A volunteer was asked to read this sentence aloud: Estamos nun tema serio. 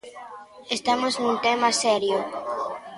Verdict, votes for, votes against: accepted, 2, 0